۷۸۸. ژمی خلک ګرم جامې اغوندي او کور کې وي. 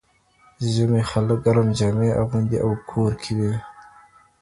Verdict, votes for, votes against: rejected, 0, 2